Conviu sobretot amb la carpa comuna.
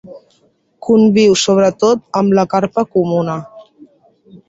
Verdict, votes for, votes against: accepted, 3, 0